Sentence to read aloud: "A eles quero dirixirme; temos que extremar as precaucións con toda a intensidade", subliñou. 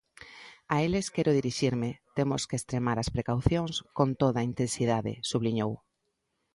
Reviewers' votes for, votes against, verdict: 2, 0, accepted